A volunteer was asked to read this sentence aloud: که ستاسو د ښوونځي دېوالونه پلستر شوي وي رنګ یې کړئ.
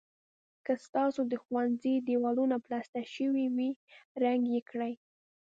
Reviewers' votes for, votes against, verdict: 2, 0, accepted